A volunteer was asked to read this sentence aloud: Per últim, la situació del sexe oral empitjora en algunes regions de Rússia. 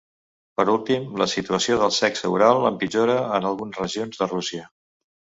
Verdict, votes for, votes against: rejected, 1, 2